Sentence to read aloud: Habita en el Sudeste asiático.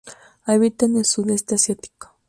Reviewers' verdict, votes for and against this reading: accepted, 2, 0